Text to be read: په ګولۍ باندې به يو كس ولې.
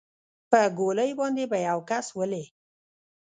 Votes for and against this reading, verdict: 1, 2, rejected